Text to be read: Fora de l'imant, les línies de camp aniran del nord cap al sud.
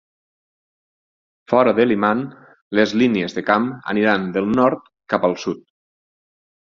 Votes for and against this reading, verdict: 4, 0, accepted